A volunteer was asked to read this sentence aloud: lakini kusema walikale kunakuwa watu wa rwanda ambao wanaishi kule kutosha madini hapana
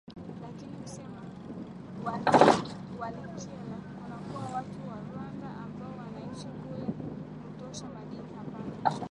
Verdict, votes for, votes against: rejected, 1, 2